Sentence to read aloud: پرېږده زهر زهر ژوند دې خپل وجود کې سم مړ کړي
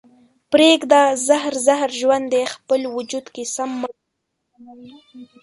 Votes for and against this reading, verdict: 0, 2, rejected